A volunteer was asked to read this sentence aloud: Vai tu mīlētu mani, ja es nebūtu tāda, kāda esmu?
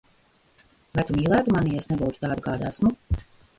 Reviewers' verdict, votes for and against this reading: rejected, 0, 2